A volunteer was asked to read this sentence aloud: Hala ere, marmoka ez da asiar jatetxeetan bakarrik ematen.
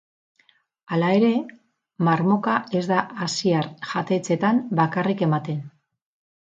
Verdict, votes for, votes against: accepted, 4, 0